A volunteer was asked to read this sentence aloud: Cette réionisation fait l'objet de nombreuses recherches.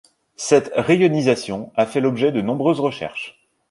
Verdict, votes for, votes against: rejected, 1, 2